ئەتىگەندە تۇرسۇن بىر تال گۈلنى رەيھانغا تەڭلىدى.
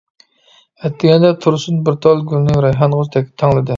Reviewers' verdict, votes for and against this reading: rejected, 0, 2